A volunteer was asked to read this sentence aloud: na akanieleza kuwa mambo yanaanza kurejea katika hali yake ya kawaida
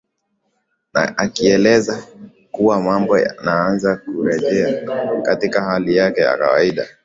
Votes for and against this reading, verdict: 2, 1, accepted